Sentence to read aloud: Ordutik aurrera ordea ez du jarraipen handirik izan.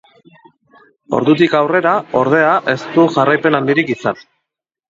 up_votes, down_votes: 3, 0